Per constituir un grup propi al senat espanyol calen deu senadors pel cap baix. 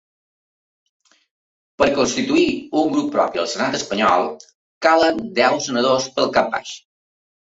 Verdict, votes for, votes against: accepted, 3, 0